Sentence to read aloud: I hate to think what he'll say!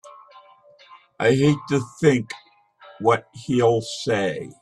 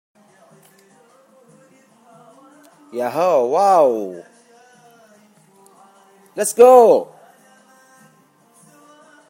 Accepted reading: first